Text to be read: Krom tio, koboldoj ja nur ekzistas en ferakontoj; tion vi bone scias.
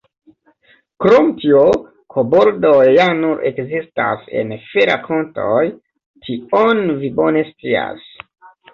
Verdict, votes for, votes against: accepted, 2, 0